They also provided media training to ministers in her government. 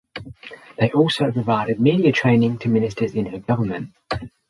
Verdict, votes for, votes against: accepted, 6, 0